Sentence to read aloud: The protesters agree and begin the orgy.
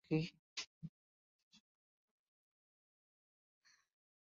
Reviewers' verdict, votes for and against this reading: rejected, 0, 2